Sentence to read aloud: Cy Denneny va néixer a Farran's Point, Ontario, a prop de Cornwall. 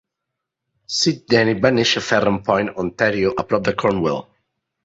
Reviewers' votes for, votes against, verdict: 2, 1, accepted